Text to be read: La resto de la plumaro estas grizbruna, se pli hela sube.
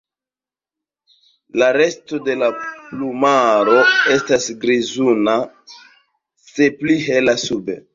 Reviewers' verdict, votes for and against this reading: accepted, 2, 0